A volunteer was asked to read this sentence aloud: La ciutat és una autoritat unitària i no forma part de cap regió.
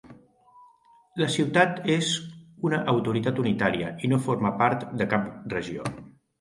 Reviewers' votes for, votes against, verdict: 2, 0, accepted